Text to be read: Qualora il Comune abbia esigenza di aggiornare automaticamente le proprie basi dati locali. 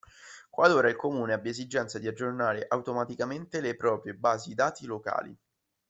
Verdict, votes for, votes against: rejected, 0, 2